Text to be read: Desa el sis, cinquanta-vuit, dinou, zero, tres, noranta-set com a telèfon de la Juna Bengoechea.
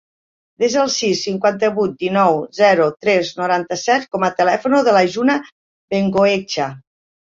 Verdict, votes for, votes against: rejected, 1, 2